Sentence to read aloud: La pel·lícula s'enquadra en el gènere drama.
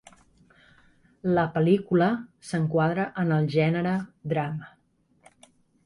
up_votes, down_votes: 2, 0